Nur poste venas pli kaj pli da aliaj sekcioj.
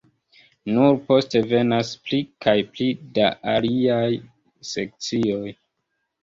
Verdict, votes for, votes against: rejected, 1, 2